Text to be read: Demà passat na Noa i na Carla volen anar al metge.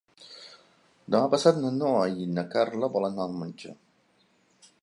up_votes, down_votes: 1, 2